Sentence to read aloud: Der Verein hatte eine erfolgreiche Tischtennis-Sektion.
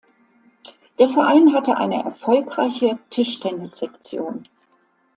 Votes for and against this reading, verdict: 2, 0, accepted